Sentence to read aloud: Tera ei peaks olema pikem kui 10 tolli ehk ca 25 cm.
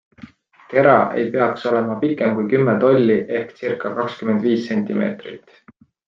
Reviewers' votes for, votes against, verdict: 0, 2, rejected